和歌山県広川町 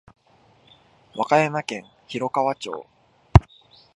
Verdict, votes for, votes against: accepted, 2, 0